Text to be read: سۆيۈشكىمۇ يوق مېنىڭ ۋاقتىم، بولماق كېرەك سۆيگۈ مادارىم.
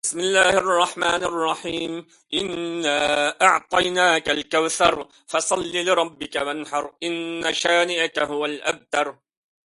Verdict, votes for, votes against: rejected, 0, 2